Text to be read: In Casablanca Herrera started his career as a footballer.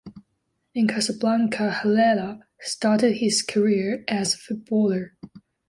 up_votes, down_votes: 0, 2